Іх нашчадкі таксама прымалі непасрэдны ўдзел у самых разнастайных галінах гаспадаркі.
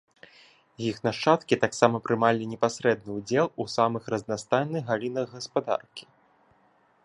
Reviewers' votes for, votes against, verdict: 3, 0, accepted